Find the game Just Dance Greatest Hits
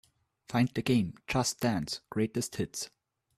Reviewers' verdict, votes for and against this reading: accepted, 2, 0